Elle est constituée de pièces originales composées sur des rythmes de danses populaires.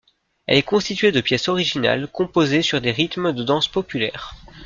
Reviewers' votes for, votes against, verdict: 2, 0, accepted